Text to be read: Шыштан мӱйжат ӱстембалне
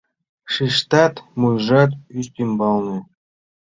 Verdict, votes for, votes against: rejected, 0, 2